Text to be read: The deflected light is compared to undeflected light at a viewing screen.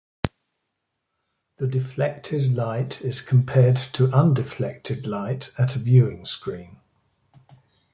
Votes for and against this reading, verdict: 2, 0, accepted